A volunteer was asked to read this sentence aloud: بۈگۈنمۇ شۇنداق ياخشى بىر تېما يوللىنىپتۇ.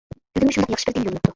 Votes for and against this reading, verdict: 0, 2, rejected